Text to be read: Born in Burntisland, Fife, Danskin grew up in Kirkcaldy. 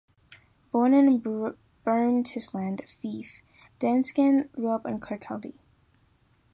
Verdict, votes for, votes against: rejected, 0, 2